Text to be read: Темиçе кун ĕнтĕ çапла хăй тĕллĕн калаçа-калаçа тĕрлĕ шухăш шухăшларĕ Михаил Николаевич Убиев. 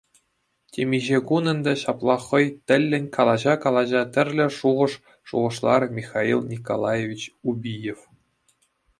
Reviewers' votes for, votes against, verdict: 2, 0, accepted